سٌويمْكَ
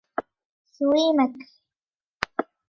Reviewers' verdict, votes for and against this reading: rejected, 1, 2